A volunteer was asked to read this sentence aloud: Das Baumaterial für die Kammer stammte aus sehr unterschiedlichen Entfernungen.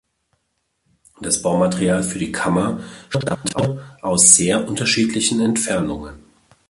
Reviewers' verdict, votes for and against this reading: rejected, 1, 2